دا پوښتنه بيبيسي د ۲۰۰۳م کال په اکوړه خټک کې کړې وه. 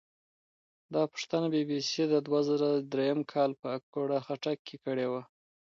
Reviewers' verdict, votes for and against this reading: rejected, 0, 2